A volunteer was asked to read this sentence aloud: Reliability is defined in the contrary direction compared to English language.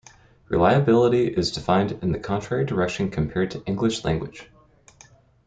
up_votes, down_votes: 2, 0